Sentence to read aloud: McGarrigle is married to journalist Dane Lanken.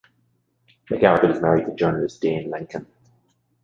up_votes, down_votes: 1, 2